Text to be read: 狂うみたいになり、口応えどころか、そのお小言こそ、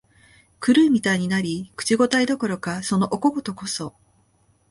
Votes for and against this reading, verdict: 2, 0, accepted